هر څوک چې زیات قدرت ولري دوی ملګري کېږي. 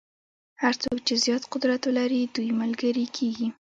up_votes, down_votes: 0, 2